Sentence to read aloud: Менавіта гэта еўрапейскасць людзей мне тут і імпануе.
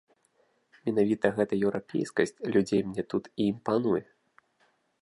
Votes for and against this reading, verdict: 2, 0, accepted